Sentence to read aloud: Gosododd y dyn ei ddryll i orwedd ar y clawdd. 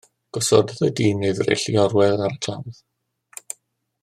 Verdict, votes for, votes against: rejected, 0, 2